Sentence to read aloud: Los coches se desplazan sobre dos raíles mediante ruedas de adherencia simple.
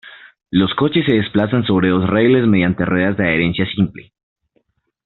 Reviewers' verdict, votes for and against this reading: rejected, 0, 2